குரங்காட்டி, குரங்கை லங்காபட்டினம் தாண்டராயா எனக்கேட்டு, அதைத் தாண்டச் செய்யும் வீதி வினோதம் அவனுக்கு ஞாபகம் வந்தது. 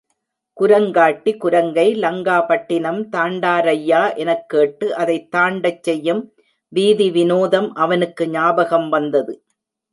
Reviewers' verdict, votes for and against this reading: rejected, 2, 3